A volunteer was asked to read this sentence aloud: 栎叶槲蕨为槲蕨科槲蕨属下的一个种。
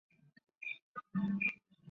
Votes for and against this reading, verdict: 0, 2, rejected